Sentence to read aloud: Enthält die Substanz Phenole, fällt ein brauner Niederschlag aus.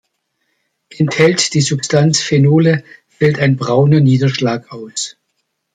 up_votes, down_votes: 2, 0